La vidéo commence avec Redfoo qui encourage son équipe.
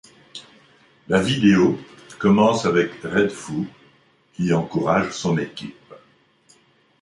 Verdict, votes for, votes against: rejected, 1, 2